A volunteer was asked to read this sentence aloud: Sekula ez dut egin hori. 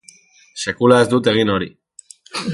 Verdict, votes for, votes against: rejected, 0, 2